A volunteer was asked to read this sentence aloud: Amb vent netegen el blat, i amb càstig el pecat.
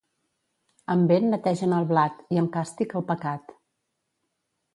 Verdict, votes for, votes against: accepted, 2, 0